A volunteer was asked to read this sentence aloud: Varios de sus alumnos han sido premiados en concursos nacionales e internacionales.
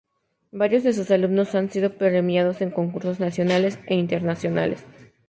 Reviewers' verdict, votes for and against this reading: accepted, 2, 0